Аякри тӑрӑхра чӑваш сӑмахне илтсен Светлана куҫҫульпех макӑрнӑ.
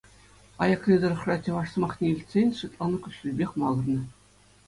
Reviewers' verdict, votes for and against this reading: accepted, 2, 0